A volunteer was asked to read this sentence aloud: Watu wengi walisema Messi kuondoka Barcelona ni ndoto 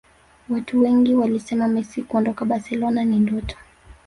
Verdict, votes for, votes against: accepted, 2, 0